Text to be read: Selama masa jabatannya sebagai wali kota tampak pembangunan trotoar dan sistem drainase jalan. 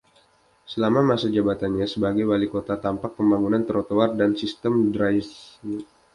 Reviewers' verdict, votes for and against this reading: rejected, 0, 2